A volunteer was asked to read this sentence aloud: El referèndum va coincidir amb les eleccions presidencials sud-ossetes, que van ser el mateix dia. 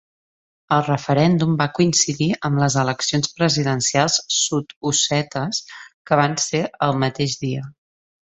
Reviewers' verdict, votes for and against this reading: accepted, 2, 0